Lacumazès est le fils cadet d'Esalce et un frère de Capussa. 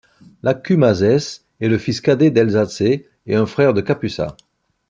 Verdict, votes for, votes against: rejected, 1, 2